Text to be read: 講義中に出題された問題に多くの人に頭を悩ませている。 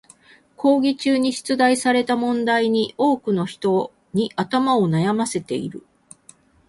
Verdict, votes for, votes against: accepted, 4, 0